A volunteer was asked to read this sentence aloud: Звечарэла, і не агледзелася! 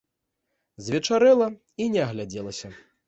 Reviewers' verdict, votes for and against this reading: rejected, 0, 2